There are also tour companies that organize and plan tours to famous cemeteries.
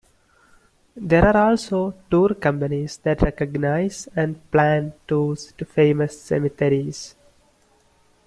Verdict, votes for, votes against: rejected, 1, 2